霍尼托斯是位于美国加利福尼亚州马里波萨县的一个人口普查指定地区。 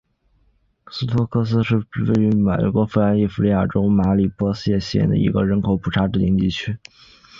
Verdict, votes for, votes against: accepted, 2, 0